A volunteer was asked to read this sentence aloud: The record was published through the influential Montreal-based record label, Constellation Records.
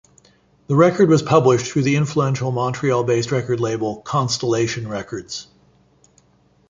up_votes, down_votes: 2, 1